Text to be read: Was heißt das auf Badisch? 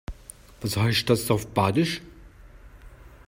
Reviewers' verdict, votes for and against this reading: accepted, 3, 0